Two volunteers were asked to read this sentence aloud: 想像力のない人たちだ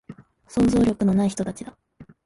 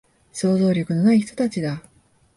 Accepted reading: second